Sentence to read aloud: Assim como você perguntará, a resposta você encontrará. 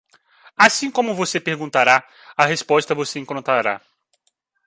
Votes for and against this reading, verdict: 2, 1, accepted